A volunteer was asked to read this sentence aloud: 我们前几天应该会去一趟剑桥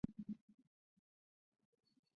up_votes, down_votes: 1, 3